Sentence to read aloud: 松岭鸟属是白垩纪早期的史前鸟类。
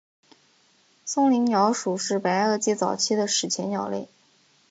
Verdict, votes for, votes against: accepted, 4, 0